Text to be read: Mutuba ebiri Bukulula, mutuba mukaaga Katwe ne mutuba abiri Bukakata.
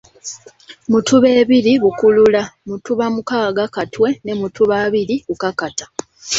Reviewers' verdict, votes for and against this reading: accepted, 2, 0